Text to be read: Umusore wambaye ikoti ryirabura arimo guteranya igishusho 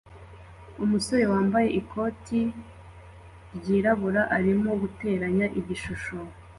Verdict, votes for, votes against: accepted, 2, 0